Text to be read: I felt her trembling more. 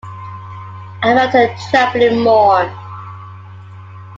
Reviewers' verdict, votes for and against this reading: rejected, 1, 2